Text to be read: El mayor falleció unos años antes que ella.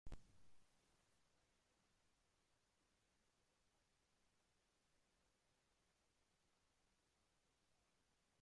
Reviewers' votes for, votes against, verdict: 0, 2, rejected